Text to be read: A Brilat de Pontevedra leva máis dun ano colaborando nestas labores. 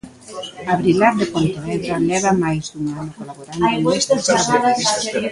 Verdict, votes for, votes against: rejected, 0, 2